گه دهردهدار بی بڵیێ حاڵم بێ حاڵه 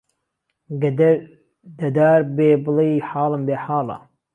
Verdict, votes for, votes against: rejected, 0, 2